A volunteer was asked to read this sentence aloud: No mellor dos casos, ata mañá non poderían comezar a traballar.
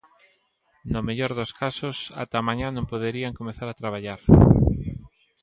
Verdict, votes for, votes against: accepted, 2, 1